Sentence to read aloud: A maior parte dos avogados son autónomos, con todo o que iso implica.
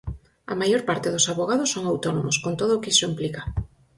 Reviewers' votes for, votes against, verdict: 4, 0, accepted